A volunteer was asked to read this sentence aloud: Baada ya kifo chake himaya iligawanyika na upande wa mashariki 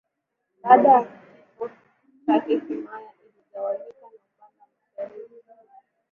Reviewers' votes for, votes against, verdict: 0, 2, rejected